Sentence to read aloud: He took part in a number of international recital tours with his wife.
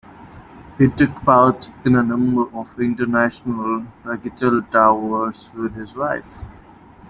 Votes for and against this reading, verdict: 0, 2, rejected